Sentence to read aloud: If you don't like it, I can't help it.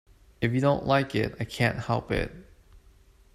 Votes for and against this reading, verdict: 2, 0, accepted